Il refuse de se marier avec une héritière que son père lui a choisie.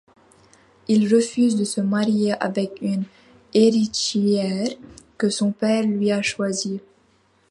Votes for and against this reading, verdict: 2, 0, accepted